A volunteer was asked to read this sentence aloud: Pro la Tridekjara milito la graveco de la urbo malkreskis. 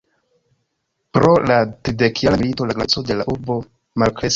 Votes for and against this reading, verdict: 0, 2, rejected